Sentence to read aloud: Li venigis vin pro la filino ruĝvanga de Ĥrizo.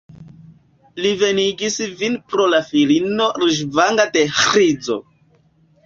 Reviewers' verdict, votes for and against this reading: accepted, 2, 0